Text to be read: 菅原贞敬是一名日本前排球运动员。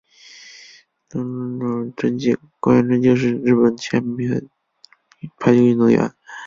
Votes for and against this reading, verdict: 4, 2, accepted